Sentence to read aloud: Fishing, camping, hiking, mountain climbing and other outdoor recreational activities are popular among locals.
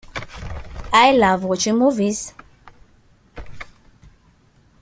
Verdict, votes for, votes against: rejected, 0, 2